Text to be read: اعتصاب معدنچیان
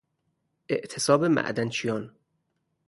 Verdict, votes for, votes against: rejected, 0, 2